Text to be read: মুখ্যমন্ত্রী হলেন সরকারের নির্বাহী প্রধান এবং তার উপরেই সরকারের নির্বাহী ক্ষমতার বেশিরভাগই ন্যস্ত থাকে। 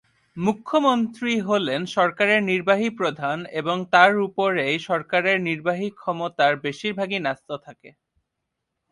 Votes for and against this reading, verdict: 2, 0, accepted